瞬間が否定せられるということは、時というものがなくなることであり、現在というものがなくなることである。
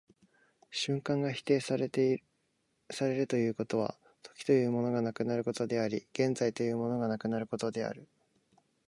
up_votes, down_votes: 0, 2